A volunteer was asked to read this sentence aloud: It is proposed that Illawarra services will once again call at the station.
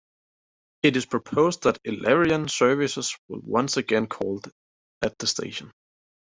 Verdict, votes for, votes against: accepted, 2, 0